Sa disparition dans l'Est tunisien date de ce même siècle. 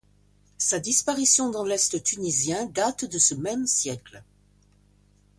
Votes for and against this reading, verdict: 2, 0, accepted